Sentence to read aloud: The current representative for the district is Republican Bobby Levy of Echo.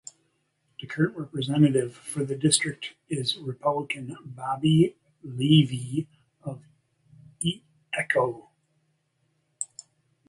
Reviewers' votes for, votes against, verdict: 0, 2, rejected